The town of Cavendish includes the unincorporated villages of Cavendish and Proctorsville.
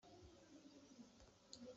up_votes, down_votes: 0, 2